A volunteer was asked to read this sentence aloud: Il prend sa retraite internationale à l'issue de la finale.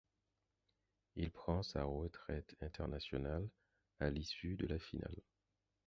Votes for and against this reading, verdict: 0, 4, rejected